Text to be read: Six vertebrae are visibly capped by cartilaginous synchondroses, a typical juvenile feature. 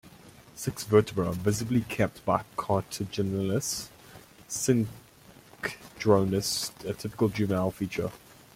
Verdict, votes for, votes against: rejected, 1, 2